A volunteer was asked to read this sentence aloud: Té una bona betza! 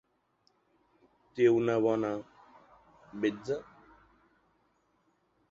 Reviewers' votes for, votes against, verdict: 1, 2, rejected